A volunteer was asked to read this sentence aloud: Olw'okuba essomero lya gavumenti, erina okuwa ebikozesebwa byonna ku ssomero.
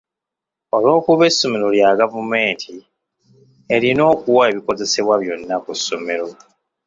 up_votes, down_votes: 2, 0